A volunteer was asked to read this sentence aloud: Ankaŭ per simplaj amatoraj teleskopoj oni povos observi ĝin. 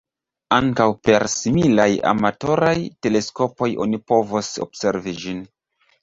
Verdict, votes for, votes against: rejected, 1, 2